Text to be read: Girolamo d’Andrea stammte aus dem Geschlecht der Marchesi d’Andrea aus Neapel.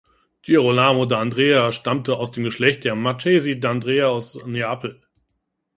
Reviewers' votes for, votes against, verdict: 1, 2, rejected